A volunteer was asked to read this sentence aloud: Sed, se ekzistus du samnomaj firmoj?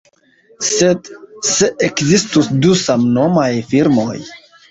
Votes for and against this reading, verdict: 1, 2, rejected